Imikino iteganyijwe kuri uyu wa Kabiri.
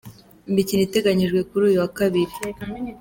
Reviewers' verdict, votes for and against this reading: accepted, 2, 0